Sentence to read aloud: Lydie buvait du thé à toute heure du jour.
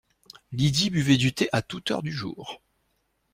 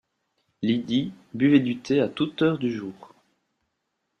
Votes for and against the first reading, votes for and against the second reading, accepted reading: 2, 0, 1, 2, first